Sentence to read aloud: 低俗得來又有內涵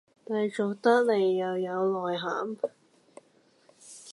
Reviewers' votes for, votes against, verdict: 1, 2, rejected